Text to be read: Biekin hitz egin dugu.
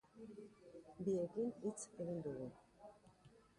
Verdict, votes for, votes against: accepted, 2, 0